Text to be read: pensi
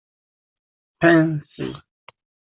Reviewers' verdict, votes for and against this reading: rejected, 1, 2